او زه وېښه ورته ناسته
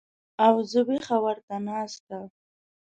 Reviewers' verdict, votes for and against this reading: accepted, 2, 0